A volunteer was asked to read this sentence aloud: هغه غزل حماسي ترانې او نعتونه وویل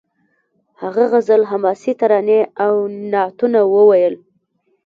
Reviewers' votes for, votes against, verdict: 1, 2, rejected